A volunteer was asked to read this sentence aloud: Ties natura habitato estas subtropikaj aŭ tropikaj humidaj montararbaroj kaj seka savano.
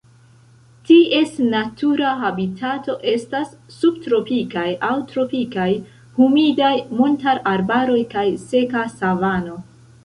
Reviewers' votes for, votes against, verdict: 3, 0, accepted